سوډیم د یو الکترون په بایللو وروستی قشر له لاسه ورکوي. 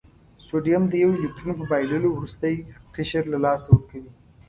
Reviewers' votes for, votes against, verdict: 2, 0, accepted